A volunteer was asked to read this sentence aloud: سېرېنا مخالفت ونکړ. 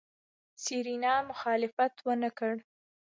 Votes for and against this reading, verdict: 1, 2, rejected